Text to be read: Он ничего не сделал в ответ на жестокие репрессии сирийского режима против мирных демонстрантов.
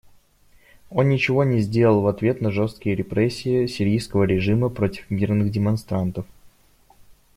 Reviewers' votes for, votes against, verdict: 0, 2, rejected